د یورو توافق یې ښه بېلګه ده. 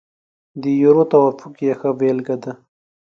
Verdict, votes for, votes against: accepted, 5, 0